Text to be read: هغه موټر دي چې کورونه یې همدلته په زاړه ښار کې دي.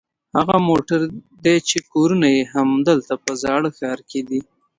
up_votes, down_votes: 2, 1